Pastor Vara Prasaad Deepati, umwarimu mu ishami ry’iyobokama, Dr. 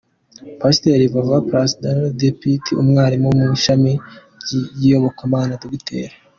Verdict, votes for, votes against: accepted, 2, 0